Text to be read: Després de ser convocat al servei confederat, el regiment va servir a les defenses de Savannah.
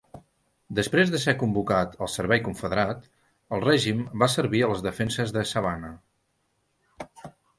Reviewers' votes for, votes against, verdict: 0, 2, rejected